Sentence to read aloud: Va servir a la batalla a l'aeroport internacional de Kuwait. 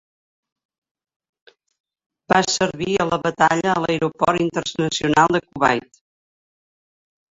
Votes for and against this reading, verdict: 0, 2, rejected